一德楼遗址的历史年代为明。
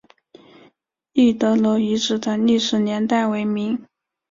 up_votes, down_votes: 3, 0